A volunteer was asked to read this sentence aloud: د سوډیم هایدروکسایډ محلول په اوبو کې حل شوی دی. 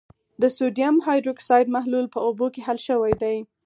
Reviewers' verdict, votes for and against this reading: accepted, 4, 0